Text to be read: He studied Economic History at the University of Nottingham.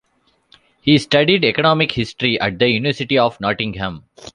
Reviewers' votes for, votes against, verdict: 2, 0, accepted